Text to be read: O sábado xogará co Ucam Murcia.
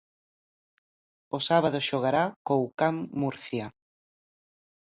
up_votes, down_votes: 3, 0